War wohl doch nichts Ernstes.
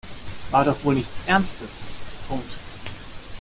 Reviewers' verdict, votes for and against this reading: rejected, 1, 2